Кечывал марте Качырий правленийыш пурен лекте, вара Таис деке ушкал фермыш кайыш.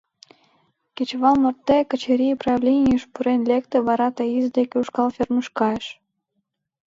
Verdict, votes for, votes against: accepted, 2, 0